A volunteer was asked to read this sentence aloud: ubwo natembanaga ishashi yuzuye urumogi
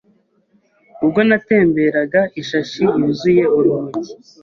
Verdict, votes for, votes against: rejected, 0, 2